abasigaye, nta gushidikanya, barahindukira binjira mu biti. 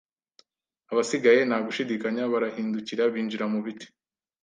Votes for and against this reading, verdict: 2, 0, accepted